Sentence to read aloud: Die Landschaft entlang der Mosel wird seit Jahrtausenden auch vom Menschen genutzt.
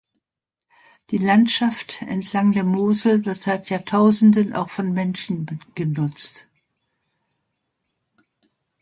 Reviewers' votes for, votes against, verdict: 0, 2, rejected